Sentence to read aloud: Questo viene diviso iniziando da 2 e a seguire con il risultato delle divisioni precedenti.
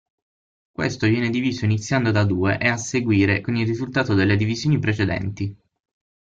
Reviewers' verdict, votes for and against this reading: rejected, 0, 2